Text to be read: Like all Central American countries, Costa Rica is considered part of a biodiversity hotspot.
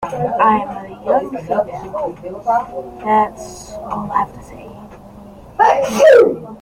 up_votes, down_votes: 0, 2